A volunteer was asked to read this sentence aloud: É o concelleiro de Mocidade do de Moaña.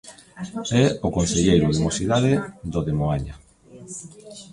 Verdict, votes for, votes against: accepted, 2, 1